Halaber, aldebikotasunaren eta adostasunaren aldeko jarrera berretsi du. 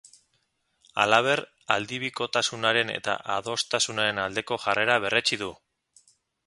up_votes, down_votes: 2, 0